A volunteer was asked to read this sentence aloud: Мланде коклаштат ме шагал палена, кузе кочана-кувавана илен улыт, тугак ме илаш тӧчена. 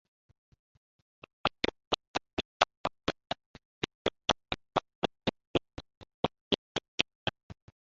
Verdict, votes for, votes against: rejected, 0, 2